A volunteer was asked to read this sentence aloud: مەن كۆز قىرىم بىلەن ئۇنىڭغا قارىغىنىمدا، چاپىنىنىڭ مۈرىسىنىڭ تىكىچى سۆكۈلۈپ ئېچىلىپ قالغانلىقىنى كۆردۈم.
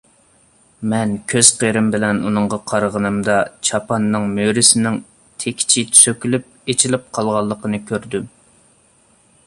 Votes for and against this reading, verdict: 0, 2, rejected